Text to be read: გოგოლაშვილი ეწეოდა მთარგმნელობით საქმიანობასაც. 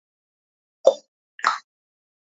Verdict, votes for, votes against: rejected, 0, 2